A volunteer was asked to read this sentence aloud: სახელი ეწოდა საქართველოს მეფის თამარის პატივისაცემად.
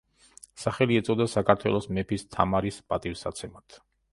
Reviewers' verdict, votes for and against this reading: accepted, 3, 0